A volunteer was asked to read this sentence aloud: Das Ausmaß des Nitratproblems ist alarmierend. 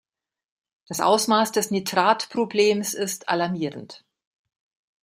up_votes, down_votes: 2, 1